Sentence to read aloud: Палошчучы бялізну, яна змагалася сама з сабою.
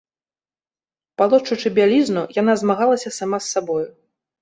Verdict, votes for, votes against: accepted, 2, 1